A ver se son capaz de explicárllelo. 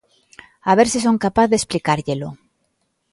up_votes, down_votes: 2, 0